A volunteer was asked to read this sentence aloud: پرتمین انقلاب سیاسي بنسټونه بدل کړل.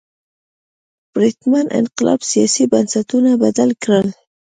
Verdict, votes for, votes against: accepted, 2, 0